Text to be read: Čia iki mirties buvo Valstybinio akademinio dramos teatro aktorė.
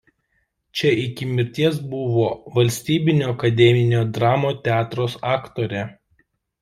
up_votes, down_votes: 0, 2